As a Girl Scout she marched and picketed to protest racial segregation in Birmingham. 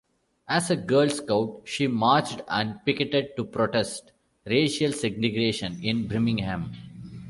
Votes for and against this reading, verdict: 2, 1, accepted